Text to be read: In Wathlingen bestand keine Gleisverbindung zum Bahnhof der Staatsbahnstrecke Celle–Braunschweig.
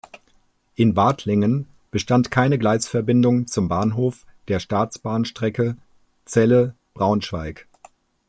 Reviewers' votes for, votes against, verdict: 2, 0, accepted